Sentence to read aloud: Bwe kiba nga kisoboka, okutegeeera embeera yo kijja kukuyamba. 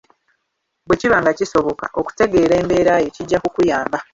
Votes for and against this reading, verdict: 2, 3, rejected